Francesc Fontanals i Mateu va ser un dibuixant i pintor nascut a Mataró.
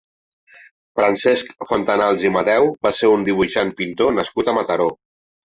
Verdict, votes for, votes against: rejected, 1, 2